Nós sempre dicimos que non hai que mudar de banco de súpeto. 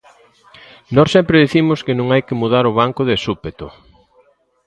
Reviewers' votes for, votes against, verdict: 0, 2, rejected